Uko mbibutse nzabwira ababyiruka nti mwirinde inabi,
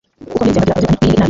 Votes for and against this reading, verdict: 1, 2, rejected